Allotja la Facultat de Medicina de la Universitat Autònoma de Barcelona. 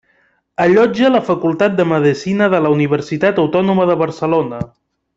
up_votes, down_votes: 0, 2